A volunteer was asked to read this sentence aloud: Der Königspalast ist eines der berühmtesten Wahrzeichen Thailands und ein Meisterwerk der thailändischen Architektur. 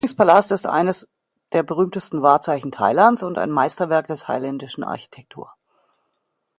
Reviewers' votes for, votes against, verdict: 0, 2, rejected